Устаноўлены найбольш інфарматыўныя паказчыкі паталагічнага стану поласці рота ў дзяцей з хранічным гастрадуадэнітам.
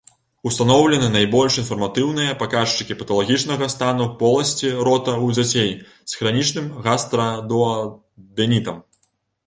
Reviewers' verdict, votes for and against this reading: rejected, 1, 2